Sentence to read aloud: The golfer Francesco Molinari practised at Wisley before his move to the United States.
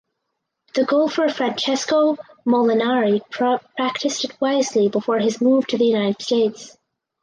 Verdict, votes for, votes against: rejected, 2, 2